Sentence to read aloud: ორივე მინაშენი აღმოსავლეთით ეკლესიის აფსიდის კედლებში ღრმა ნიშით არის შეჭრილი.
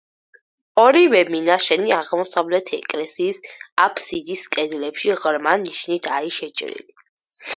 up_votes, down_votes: 4, 0